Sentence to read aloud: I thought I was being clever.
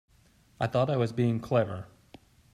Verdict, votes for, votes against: accepted, 2, 0